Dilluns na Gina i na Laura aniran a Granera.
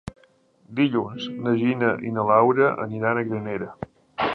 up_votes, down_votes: 3, 0